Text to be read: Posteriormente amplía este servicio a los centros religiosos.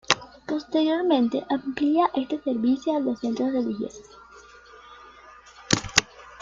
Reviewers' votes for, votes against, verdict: 2, 1, accepted